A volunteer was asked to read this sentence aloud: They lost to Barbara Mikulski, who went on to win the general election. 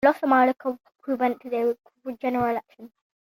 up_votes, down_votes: 0, 2